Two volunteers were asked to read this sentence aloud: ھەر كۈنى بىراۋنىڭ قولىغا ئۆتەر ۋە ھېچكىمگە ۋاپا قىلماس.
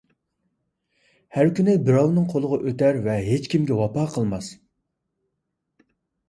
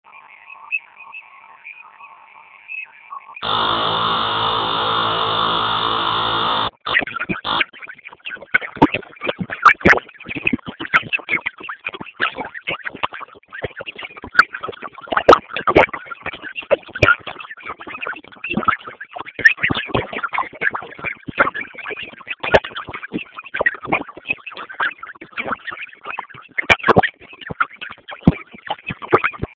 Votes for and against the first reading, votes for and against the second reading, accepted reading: 2, 0, 0, 2, first